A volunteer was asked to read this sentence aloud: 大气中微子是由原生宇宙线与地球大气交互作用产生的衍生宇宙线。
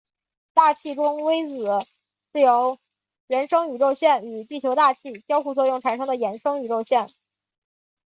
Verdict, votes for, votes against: rejected, 0, 2